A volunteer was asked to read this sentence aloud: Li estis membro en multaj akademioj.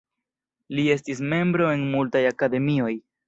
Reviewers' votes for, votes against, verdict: 2, 1, accepted